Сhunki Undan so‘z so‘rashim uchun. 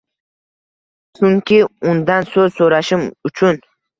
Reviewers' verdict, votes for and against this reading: accepted, 2, 0